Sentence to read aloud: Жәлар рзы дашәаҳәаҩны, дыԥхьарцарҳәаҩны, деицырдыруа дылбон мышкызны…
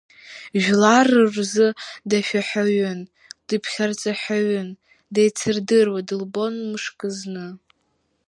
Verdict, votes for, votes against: rejected, 0, 2